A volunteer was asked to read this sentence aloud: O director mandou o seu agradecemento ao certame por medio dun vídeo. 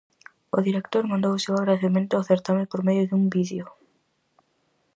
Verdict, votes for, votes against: rejected, 2, 2